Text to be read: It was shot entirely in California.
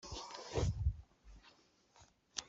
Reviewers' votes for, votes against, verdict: 0, 2, rejected